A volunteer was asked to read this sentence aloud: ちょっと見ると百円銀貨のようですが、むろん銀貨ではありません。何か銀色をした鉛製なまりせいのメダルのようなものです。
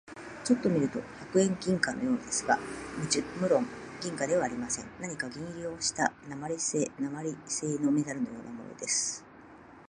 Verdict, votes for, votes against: accepted, 2, 1